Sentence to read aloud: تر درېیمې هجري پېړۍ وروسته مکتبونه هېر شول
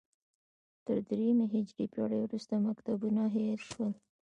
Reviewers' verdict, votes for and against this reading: accepted, 2, 1